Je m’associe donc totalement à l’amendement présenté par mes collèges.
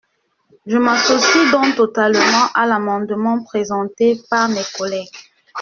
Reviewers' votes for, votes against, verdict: 0, 2, rejected